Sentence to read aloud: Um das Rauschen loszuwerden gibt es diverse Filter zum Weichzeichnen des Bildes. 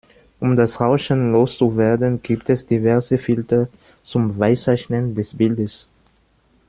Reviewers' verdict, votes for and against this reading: rejected, 1, 2